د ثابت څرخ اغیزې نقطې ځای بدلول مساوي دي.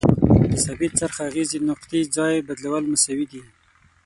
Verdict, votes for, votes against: rejected, 0, 6